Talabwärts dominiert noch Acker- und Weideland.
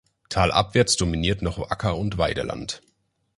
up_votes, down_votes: 1, 2